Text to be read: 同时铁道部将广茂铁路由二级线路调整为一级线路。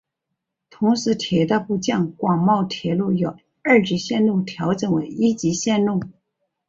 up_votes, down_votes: 3, 1